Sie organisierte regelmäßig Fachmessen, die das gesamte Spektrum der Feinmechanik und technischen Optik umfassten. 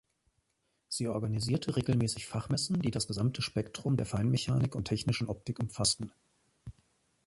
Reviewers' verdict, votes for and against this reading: accepted, 2, 0